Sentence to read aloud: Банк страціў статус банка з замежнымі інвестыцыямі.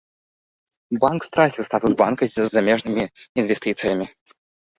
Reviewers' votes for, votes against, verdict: 2, 1, accepted